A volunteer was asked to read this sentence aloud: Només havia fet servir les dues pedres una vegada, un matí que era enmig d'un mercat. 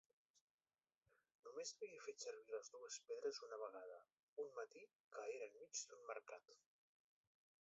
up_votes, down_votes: 0, 2